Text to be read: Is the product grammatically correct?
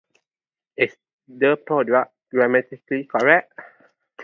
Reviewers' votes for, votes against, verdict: 0, 2, rejected